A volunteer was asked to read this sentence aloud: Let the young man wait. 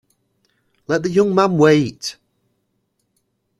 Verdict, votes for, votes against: accepted, 3, 0